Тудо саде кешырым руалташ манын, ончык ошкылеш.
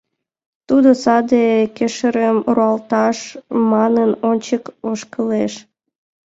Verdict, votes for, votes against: accepted, 2, 0